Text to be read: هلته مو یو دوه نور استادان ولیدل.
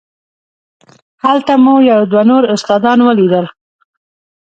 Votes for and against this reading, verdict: 2, 0, accepted